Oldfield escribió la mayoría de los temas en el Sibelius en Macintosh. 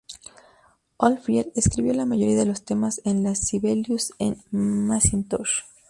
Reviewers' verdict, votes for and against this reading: rejected, 0, 2